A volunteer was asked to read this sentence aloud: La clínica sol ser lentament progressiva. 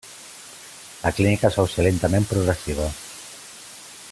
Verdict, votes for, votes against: accepted, 2, 1